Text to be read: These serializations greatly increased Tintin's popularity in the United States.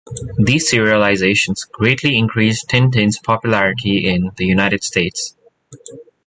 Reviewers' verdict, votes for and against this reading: accepted, 2, 0